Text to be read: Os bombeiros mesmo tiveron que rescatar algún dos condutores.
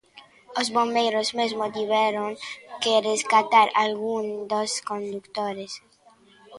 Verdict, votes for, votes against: accepted, 2, 0